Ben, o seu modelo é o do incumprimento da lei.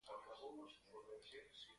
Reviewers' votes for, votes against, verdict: 0, 2, rejected